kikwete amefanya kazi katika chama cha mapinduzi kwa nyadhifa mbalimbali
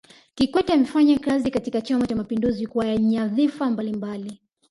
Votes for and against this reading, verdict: 1, 2, rejected